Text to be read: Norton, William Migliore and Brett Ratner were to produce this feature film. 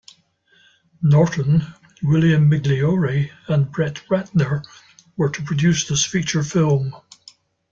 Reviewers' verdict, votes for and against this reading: accepted, 2, 0